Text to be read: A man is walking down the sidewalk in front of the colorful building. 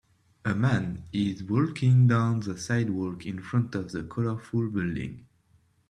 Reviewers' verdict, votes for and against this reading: rejected, 1, 2